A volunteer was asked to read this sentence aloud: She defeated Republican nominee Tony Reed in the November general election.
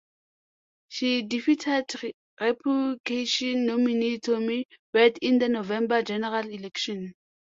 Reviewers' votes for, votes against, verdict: 0, 2, rejected